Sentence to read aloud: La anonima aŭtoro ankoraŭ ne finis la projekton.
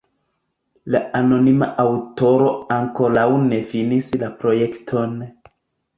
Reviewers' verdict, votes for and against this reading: accepted, 2, 0